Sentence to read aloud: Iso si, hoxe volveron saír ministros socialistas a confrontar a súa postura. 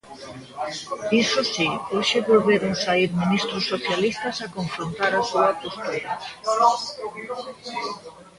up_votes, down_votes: 0, 2